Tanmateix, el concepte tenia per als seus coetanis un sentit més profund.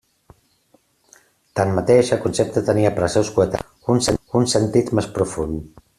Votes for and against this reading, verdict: 0, 2, rejected